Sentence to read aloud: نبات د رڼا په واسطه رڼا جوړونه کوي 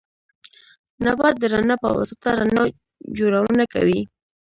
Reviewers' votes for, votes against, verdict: 1, 2, rejected